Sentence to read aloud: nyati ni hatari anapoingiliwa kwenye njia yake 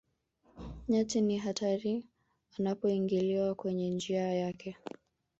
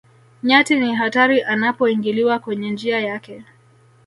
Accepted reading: first